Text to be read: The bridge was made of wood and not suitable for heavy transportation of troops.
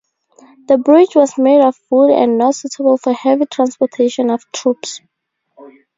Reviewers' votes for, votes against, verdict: 4, 0, accepted